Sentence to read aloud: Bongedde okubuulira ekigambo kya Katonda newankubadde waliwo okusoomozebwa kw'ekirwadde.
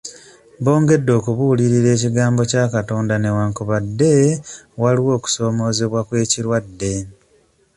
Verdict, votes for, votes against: accepted, 2, 0